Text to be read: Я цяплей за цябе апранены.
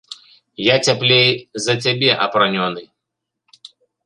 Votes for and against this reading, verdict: 2, 3, rejected